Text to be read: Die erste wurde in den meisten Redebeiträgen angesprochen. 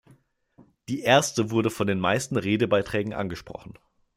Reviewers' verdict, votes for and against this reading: rejected, 0, 2